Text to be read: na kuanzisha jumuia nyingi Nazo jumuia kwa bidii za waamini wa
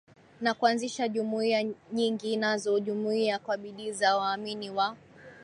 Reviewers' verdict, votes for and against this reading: accepted, 8, 1